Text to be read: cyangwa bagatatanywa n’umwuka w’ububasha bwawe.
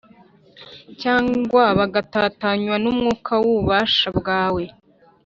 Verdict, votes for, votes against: accepted, 2, 0